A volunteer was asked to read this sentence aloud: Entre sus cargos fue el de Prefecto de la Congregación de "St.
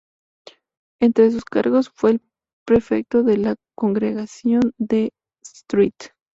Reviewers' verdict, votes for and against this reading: rejected, 0, 2